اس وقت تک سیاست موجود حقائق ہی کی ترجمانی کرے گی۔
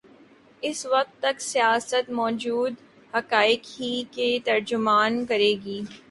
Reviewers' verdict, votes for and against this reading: rejected, 0, 4